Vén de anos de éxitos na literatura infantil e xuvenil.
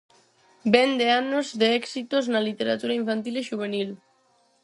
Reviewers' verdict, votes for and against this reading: accepted, 4, 0